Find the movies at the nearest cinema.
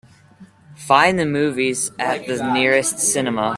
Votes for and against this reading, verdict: 2, 0, accepted